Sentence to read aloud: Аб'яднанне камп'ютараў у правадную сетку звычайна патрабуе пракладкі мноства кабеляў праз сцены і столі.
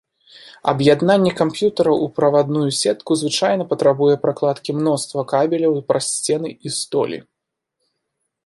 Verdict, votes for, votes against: accepted, 2, 0